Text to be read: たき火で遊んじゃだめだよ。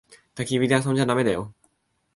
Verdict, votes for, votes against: accepted, 2, 0